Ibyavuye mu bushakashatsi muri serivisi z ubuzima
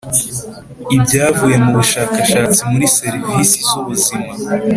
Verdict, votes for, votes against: accepted, 2, 0